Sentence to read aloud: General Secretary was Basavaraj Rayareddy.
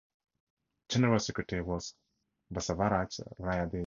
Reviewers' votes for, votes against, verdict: 2, 0, accepted